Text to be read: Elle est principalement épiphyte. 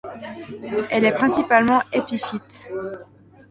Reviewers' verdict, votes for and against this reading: accepted, 2, 0